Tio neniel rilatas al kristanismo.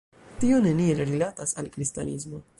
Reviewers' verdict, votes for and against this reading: rejected, 0, 2